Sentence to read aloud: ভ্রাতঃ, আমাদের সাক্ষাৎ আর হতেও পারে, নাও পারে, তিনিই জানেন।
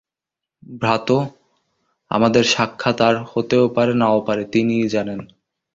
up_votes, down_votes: 2, 0